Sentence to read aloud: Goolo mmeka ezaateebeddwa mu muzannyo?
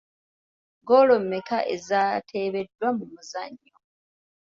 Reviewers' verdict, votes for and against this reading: accepted, 2, 0